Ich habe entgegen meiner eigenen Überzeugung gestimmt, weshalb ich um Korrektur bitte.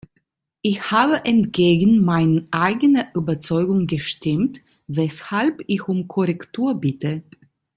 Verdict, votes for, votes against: rejected, 1, 2